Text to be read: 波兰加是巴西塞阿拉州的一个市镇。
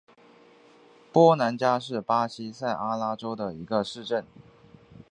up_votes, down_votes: 2, 0